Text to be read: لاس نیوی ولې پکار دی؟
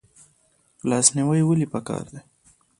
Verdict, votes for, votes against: rejected, 1, 2